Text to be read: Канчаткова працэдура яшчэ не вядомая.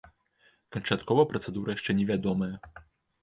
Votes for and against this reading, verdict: 2, 0, accepted